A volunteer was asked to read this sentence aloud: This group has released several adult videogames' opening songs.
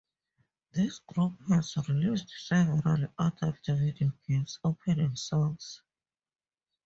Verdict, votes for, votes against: rejected, 0, 2